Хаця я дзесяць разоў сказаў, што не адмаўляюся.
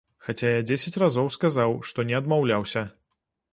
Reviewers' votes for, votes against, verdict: 1, 2, rejected